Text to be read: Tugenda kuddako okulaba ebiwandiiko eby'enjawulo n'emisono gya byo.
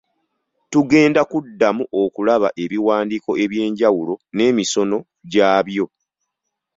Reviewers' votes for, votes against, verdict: 2, 0, accepted